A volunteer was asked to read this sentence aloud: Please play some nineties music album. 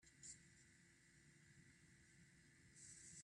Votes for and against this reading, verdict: 0, 2, rejected